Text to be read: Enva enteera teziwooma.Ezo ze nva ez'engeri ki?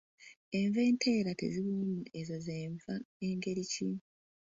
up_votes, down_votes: 0, 2